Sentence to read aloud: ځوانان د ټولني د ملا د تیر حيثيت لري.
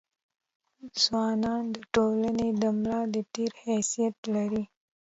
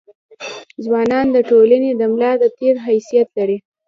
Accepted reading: second